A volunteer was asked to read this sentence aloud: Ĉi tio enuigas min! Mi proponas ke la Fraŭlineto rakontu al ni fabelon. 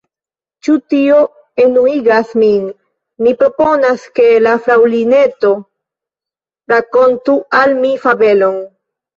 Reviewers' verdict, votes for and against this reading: rejected, 0, 2